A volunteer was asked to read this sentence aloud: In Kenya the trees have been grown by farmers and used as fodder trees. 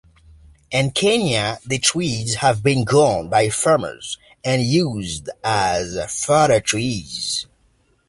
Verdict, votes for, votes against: accepted, 2, 0